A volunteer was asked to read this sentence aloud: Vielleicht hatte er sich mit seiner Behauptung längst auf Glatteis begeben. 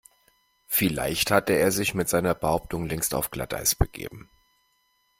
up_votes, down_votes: 2, 0